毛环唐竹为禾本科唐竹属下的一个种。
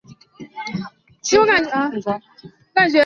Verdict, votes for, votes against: rejected, 0, 2